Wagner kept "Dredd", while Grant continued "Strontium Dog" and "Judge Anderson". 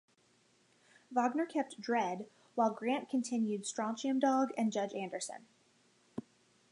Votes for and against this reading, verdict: 2, 0, accepted